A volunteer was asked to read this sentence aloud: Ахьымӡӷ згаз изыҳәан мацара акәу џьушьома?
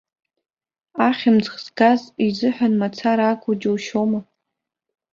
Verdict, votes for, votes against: accepted, 2, 0